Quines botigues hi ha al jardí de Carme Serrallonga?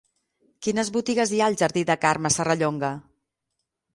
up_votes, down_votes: 6, 0